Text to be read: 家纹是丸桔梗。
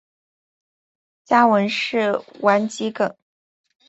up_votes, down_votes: 2, 1